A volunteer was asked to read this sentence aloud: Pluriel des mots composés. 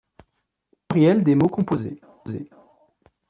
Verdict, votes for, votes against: rejected, 1, 3